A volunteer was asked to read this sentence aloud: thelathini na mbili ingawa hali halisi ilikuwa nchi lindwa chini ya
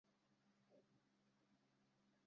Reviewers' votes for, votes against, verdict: 0, 2, rejected